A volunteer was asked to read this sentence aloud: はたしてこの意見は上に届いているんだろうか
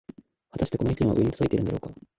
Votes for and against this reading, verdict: 0, 2, rejected